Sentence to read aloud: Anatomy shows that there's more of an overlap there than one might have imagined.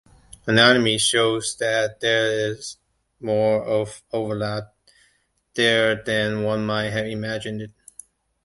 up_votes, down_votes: 0, 2